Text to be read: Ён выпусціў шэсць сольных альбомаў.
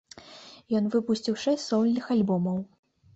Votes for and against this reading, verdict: 1, 3, rejected